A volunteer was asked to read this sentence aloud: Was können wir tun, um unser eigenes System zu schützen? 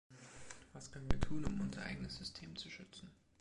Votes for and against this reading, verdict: 1, 2, rejected